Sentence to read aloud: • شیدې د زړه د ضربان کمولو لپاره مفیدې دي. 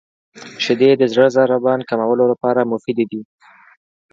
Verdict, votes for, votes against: accepted, 2, 0